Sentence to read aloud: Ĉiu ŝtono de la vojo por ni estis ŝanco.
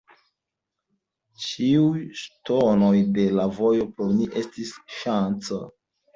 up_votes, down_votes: 0, 2